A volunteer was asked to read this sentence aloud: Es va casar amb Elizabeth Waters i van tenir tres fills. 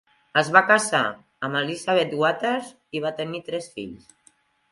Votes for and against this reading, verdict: 0, 2, rejected